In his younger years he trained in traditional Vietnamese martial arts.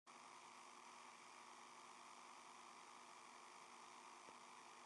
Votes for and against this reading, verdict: 0, 2, rejected